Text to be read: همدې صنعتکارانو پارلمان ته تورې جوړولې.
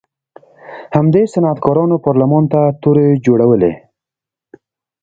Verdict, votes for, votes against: accepted, 2, 0